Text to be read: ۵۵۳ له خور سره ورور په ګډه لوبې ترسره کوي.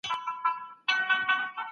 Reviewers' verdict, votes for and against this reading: rejected, 0, 2